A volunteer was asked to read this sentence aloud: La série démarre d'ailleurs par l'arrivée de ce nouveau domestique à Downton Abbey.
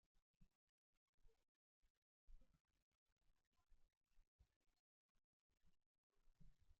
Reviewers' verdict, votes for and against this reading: rejected, 0, 2